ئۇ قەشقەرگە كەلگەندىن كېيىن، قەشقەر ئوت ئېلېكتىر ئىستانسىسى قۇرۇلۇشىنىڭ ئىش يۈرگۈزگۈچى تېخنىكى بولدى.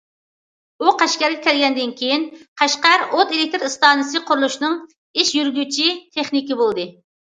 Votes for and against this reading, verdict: 0, 2, rejected